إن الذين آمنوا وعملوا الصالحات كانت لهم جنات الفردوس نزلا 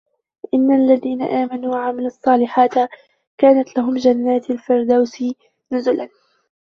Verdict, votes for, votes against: rejected, 0, 2